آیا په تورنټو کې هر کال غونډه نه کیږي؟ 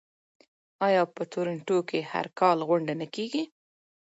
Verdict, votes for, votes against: accepted, 2, 0